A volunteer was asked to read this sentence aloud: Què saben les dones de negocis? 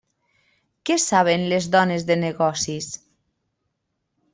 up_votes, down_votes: 3, 0